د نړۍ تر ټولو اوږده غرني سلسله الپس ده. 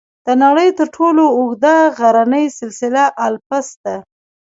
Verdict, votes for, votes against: accepted, 2, 0